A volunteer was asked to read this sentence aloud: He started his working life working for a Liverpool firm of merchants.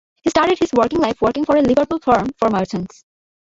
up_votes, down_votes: 0, 2